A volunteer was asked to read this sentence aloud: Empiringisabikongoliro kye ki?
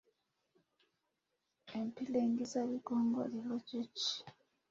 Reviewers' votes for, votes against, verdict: 2, 1, accepted